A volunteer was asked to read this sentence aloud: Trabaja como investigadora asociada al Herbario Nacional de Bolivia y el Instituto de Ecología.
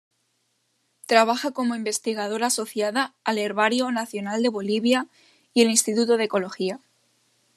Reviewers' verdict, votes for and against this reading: accepted, 2, 0